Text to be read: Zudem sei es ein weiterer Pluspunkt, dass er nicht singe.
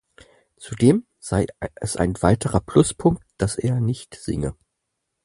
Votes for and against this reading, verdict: 0, 4, rejected